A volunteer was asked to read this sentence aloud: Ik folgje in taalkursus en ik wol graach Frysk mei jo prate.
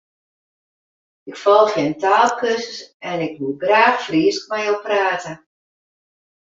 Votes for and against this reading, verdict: 0, 2, rejected